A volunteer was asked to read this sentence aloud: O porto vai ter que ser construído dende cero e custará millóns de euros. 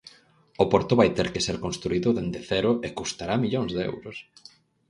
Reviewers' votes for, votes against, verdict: 6, 0, accepted